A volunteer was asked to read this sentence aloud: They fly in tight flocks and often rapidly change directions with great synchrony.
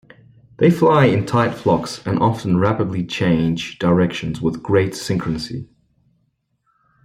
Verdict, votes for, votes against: accepted, 2, 1